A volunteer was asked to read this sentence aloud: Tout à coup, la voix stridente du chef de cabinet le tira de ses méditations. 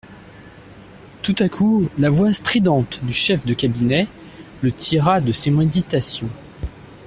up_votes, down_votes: 1, 2